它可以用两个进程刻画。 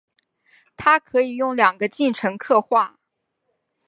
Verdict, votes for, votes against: accepted, 2, 0